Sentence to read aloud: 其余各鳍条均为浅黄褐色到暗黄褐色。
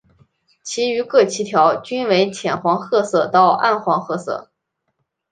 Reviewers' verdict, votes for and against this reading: accepted, 2, 0